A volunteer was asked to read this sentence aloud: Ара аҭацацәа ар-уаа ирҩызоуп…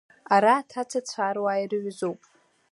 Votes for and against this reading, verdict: 2, 0, accepted